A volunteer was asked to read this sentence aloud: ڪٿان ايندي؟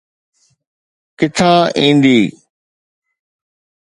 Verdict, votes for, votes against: accepted, 2, 0